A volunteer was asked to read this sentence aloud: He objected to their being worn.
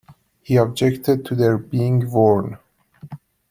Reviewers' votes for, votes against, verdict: 1, 2, rejected